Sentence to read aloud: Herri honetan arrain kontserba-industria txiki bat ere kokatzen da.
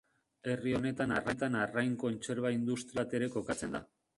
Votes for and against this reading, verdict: 0, 2, rejected